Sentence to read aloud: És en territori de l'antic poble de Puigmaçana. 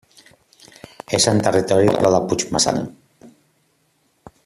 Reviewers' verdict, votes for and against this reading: rejected, 0, 2